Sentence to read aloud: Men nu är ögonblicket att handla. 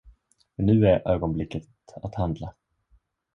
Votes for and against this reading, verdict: 1, 2, rejected